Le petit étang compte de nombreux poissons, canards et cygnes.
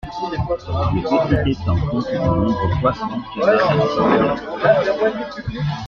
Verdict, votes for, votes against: accepted, 2, 1